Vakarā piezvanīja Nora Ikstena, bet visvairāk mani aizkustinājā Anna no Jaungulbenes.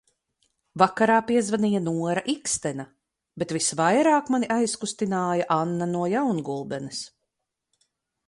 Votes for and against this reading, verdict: 2, 2, rejected